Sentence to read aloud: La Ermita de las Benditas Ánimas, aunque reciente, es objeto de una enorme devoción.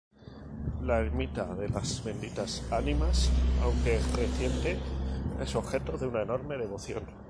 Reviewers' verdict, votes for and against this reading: rejected, 2, 2